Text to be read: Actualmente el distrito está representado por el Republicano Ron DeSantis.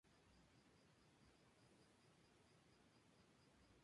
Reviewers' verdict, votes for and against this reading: rejected, 0, 2